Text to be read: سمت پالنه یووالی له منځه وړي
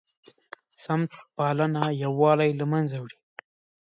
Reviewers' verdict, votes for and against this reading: accepted, 4, 1